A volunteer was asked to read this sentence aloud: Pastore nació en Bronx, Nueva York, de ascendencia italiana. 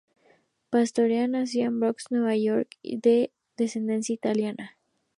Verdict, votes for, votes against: rejected, 0, 2